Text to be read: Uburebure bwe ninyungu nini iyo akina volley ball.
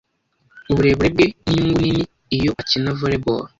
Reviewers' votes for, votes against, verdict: 2, 0, accepted